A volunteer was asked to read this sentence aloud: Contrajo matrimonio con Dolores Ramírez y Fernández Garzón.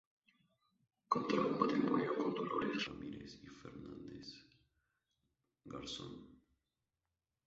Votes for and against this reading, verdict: 0, 2, rejected